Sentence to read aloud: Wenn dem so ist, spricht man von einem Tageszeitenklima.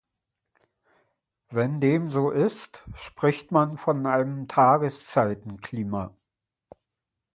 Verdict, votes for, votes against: accepted, 3, 0